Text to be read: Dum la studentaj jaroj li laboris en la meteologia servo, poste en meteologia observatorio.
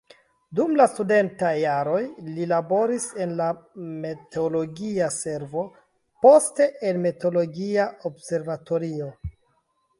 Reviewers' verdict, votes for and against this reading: rejected, 1, 2